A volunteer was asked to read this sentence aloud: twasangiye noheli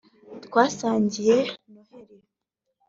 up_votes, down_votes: 2, 0